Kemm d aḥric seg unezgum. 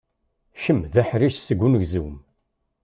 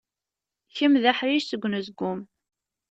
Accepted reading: second